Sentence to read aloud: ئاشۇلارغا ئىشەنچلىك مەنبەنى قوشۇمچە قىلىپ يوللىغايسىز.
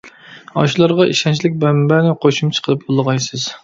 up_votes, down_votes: 0, 2